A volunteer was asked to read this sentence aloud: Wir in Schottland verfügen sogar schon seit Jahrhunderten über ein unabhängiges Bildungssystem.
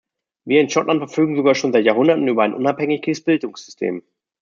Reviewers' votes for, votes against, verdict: 1, 2, rejected